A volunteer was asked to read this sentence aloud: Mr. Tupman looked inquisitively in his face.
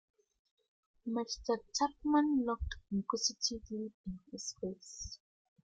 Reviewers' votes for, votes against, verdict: 0, 2, rejected